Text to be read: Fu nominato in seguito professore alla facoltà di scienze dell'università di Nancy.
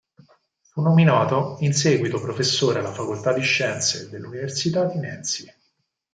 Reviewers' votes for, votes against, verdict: 4, 0, accepted